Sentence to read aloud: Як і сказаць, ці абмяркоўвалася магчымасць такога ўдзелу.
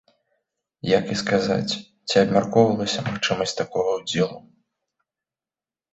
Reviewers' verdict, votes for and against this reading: accepted, 2, 1